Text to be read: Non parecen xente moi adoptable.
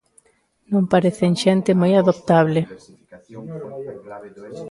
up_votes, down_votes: 0, 2